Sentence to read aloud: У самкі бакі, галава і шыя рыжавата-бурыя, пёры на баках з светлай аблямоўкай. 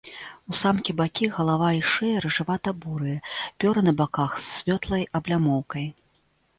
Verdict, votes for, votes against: rejected, 3, 4